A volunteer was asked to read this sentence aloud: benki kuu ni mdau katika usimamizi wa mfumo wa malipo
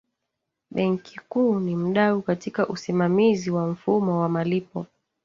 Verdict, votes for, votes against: accepted, 3, 1